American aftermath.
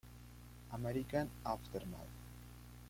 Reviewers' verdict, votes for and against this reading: rejected, 1, 2